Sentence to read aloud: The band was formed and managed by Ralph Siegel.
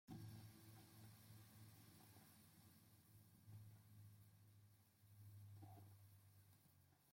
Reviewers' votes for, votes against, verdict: 0, 2, rejected